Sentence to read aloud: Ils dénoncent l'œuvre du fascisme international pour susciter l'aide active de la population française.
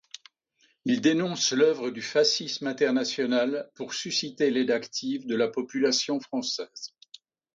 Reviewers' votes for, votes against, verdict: 2, 0, accepted